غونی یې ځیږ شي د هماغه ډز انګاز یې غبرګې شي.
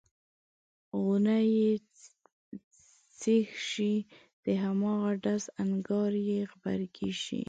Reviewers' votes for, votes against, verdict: 1, 2, rejected